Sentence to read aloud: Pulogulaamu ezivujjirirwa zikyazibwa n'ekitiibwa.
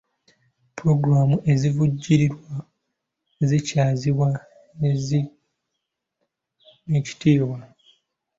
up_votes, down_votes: 1, 2